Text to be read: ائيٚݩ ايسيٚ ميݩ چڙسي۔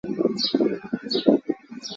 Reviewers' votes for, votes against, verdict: 1, 2, rejected